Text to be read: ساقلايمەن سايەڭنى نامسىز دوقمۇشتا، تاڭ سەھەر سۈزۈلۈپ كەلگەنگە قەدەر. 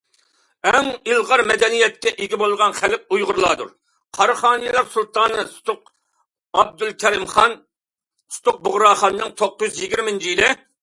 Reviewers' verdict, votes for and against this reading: rejected, 0, 2